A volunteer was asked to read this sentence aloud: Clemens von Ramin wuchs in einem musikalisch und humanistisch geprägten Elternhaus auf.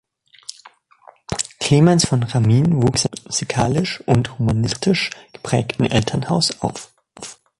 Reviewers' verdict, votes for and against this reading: rejected, 0, 2